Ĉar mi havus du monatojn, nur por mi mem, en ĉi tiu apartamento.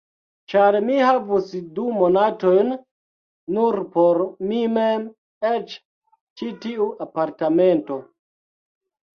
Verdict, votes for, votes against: rejected, 1, 2